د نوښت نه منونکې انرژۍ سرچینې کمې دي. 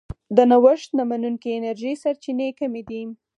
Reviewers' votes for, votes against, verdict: 6, 2, accepted